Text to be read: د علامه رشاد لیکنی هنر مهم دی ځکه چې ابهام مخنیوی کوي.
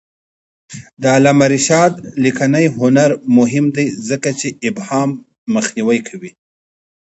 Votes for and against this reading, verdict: 2, 0, accepted